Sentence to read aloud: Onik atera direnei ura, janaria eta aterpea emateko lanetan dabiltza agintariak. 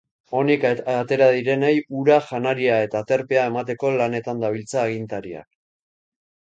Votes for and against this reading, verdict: 2, 1, accepted